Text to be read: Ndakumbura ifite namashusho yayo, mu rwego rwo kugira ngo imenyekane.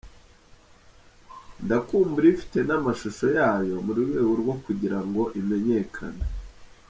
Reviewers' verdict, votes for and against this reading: rejected, 0, 2